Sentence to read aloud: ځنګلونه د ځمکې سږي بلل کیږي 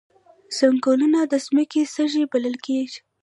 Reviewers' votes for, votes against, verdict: 1, 2, rejected